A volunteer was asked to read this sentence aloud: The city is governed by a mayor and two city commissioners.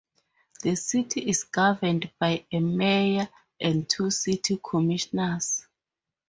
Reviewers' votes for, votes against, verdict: 2, 0, accepted